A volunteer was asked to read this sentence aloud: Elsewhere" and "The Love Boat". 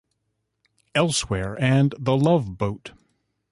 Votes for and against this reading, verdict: 4, 0, accepted